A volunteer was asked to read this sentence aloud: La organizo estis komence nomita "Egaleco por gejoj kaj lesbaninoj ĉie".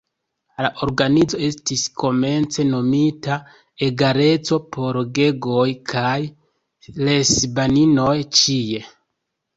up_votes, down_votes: 2, 1